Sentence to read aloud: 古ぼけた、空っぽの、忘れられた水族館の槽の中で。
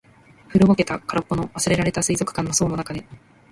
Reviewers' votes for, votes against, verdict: 2, 1, accepted